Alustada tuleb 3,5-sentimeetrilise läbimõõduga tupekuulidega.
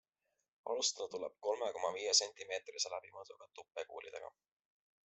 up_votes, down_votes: 0, 2